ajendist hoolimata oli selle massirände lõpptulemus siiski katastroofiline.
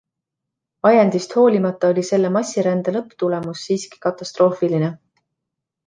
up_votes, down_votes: 2, 0